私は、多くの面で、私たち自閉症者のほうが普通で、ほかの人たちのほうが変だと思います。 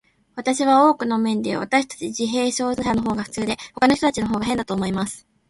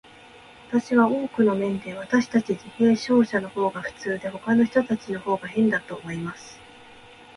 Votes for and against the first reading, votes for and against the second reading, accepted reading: 2, 0, 0, 2, first